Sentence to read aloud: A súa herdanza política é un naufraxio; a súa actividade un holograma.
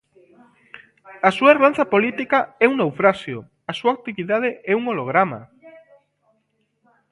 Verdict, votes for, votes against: rejected, 0, 2